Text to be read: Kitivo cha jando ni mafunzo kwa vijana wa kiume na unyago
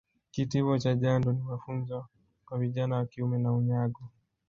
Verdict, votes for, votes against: accepted, 2, 1